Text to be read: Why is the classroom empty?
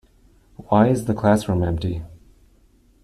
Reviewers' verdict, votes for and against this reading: accepted, 2, 0